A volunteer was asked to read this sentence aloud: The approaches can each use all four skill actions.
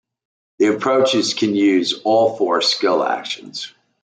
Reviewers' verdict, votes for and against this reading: rejected, 0, 2